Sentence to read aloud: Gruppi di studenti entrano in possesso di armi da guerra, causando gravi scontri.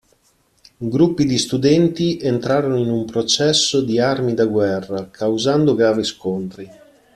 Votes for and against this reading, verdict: 0, 2, rejected